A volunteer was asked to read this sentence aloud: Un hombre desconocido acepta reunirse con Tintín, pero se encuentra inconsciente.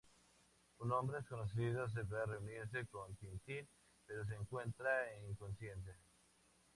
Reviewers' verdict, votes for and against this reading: accepted, 4, 2